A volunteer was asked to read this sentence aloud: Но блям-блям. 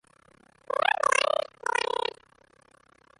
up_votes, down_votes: 0, 2